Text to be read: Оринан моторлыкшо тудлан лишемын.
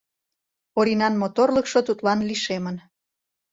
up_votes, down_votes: 2, 0